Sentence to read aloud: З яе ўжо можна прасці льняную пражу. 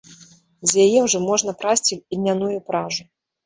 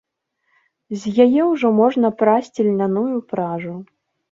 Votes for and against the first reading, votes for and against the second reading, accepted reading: 0, 2, 2, 0, second